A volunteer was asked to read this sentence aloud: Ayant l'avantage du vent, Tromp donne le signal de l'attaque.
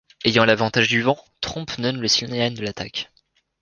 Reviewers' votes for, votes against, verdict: 2, 3, rejected